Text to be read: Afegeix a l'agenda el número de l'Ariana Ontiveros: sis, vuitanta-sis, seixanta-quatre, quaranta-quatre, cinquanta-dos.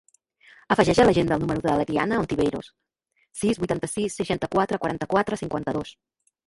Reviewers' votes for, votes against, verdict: 0, 2, rejected